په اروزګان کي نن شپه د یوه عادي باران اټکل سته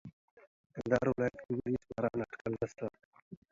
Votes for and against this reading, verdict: 0, 2, rejected